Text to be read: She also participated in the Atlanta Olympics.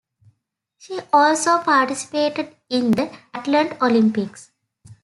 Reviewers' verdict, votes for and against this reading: rejected, 0, 2